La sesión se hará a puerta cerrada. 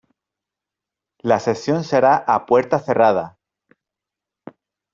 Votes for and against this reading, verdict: 2, 0, accepted